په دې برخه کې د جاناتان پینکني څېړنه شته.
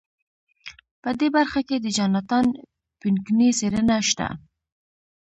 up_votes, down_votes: 2, 0